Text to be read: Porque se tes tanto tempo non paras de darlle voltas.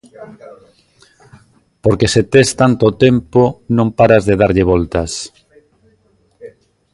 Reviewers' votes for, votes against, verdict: 2, 1, accepted